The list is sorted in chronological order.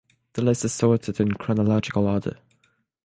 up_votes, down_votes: 6, 0